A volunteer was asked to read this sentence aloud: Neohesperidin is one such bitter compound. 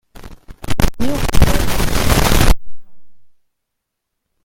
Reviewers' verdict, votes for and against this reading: rejected, 0, 2